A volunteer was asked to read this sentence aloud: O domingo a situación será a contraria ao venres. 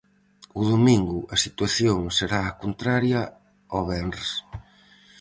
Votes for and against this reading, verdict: 4, 0, accepted